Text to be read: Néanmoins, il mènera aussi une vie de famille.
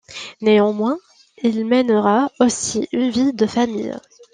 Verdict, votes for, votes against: rejected, 1, 2